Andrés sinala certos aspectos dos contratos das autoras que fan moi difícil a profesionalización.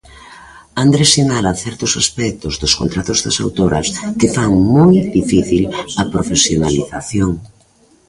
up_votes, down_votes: 2, 0